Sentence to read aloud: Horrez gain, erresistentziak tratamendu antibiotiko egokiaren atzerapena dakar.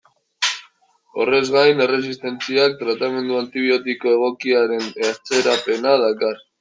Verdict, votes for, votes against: rejected, 0, 2